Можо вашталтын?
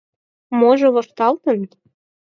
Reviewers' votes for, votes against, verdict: 4, 0, accepted